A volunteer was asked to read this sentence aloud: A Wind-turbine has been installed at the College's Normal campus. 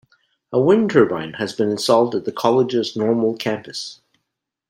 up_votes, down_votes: 2, 0